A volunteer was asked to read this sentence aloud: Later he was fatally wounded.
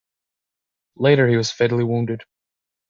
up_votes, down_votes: 2, 0